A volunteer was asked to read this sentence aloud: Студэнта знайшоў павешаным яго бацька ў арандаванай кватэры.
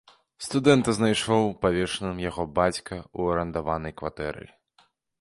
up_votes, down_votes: 2, 0